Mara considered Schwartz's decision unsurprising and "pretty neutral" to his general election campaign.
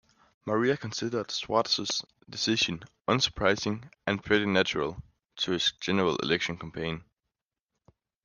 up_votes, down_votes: 1, 2